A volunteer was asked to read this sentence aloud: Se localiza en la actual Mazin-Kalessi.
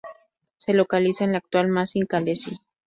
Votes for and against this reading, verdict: 4, 0, accepted